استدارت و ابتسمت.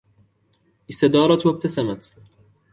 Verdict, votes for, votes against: accepted, 2, 0